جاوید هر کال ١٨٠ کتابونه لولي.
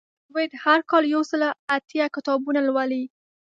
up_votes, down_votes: 0, 2